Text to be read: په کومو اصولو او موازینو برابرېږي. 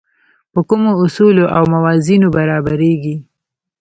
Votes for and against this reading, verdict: 2, 1, accepted